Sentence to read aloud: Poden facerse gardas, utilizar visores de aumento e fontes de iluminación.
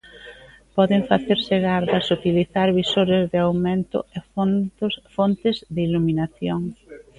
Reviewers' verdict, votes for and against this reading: rejected, 1, 2